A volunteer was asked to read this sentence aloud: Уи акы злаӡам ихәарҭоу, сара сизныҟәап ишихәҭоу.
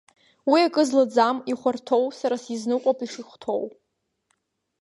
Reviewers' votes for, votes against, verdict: 4, 0, accepted